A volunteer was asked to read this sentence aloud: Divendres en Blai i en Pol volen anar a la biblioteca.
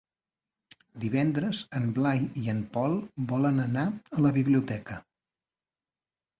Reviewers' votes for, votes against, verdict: 3, 0, accepted